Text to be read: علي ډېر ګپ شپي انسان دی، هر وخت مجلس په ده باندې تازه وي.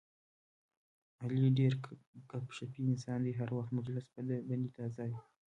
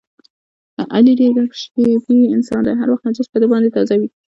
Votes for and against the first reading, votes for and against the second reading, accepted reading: 1, 2, 2, 0, second